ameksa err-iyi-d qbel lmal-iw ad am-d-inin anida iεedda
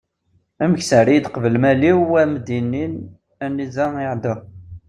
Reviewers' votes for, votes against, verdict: 1, 3, rejected